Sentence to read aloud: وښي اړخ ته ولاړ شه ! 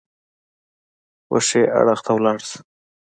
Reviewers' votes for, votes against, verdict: 2, 1, accepted